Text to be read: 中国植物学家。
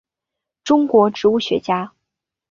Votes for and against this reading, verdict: 0, 2, rejected